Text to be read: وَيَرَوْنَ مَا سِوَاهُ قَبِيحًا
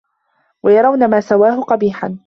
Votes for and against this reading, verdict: 1, 2, rejected